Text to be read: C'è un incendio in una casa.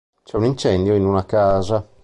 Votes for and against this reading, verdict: 2, 0, accepted